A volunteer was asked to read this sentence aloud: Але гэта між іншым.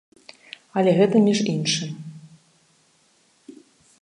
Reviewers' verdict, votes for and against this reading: accepted, 2, 0